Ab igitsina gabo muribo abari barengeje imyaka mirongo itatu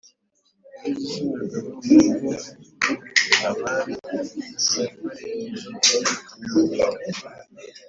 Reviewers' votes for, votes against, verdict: 0, 2, rejected